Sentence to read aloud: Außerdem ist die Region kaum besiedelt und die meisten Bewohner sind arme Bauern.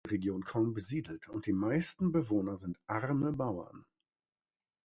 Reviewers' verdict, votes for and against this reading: rejected, 0, 2